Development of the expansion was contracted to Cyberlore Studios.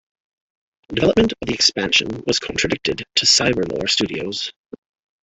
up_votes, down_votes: 1, 2